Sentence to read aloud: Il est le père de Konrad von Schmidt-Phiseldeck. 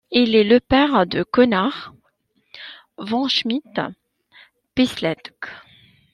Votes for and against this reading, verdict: 1, 2, rejected